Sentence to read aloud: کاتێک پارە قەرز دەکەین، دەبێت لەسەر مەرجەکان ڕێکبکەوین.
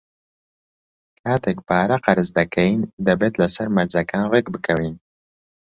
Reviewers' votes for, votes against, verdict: 2, 0, accepted